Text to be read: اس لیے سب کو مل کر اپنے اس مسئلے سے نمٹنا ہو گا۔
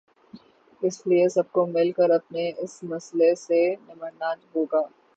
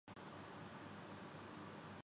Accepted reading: first